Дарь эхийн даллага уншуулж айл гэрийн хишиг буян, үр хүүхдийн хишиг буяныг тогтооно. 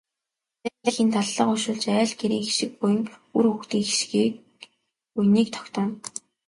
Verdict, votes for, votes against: accepted, 2, 0